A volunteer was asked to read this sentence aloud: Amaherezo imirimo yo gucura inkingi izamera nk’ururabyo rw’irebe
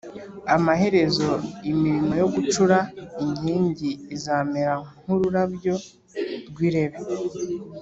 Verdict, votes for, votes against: rejected, 1, 2